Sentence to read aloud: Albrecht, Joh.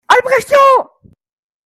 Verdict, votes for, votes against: accepted, 2, 1